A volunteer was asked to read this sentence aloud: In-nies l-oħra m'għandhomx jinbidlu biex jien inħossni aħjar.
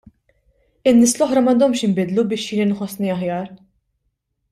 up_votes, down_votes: 2, 0